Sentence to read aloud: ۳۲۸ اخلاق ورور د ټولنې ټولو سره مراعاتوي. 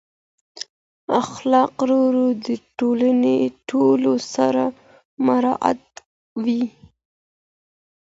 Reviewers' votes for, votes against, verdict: 0, 2, rejected